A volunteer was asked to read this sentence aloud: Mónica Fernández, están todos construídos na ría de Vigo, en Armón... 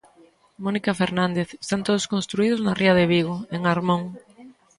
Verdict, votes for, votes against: accepted, 2, 0